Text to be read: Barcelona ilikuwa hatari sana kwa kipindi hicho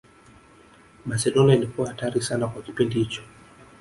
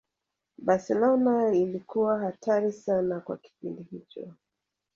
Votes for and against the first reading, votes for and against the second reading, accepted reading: 3, 0, 0, 2, first